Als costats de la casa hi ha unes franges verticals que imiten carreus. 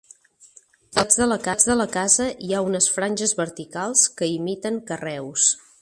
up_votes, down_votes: 0, 2